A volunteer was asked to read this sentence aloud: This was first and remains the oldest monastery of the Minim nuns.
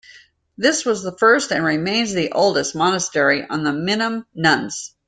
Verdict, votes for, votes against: rejected, 1, 2